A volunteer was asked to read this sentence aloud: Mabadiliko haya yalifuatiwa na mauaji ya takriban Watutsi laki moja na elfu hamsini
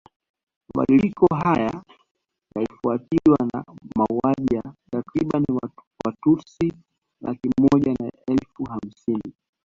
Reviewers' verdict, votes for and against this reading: rejected, 0, 2